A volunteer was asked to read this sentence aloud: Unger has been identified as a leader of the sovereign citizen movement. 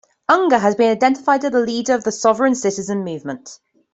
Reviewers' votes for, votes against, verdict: 2, 0, accepted